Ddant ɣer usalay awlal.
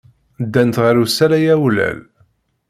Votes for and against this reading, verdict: 2, 0, accepted